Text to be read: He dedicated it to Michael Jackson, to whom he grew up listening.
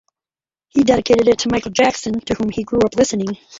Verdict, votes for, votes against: accepted, 4, 0